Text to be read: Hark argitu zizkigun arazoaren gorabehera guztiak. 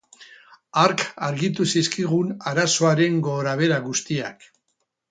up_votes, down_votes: 4, 2